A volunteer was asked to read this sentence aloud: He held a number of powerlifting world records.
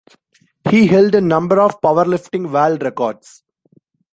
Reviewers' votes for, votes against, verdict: 1, 2, rejected